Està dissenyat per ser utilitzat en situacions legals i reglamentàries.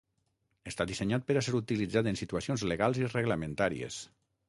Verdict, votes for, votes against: rejected, 0, 6